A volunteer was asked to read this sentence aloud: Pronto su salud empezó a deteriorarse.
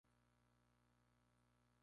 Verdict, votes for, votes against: rejected, 0, 2